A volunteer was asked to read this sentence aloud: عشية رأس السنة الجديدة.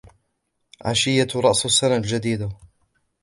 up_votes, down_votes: 1, 2